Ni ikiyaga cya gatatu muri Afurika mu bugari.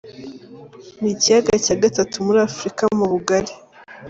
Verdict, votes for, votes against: accepted, 2, 0